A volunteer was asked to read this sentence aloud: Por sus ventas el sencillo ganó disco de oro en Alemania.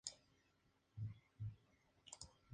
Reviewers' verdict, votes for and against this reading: accepted, 2, 0